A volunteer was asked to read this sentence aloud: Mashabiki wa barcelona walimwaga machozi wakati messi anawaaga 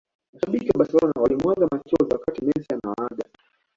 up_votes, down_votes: 1, 2